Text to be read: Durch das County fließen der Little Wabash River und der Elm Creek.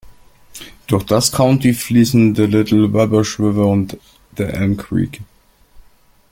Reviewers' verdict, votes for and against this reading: accepted, 2, 0